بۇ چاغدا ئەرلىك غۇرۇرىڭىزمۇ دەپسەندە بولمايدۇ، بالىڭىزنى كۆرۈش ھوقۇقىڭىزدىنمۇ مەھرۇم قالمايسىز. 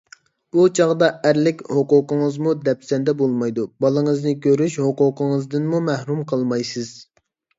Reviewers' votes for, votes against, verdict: 1, 2, rejected